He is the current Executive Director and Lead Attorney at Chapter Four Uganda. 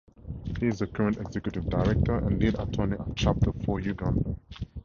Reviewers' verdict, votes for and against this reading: accepted, 4, 0